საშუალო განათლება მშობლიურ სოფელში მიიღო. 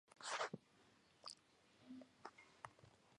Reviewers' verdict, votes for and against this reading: rejected, 1, 2